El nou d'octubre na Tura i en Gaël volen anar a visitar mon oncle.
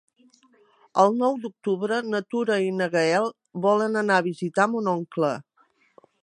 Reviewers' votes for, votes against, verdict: 0, 2, rejected